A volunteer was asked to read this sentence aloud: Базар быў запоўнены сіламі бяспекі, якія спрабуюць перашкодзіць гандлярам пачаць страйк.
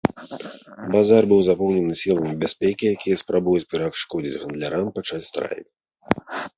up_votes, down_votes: 2, 0